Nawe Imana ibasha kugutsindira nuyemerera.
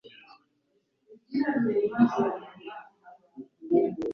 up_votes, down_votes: 2, 3